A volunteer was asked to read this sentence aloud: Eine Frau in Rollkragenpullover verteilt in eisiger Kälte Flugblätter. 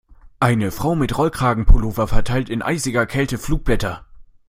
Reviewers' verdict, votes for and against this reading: rejected, 0, 2